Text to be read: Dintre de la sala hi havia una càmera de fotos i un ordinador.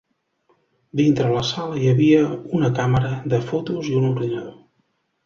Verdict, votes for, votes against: rejected, 0, 2